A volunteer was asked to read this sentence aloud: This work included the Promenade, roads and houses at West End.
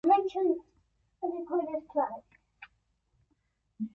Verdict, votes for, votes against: rejected, 0, 3